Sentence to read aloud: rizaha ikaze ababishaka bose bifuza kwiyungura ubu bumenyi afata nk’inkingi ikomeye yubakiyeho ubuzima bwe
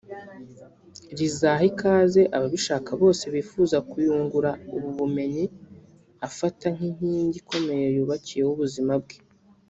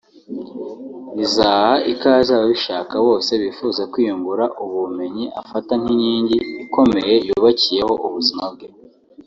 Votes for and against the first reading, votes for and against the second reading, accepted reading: 0, 2, 2, 0, second